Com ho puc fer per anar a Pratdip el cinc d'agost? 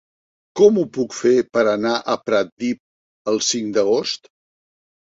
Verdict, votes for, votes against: accepted, 3, 1